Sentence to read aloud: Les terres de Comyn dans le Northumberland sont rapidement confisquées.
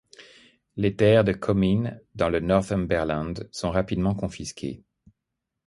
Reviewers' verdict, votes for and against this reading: accepted, 3, 0